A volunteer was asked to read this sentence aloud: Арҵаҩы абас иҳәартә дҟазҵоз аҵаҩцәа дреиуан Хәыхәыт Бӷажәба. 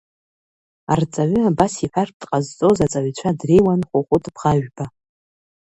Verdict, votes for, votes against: accepted, 2, 0